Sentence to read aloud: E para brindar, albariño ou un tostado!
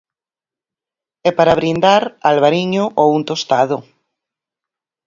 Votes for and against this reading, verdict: 0, 4, rejected